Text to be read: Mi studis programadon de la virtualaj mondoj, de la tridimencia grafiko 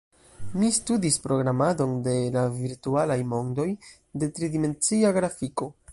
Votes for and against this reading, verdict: 1, 2, rejected